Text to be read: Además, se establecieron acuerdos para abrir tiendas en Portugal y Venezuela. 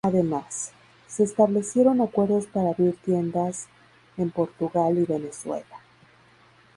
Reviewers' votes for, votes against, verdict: 2, 0, accepted